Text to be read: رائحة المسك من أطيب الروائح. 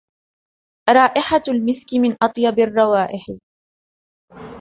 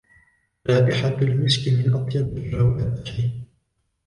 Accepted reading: first